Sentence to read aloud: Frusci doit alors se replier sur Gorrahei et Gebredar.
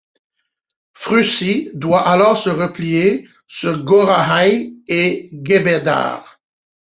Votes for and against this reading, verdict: 1, 2, rejected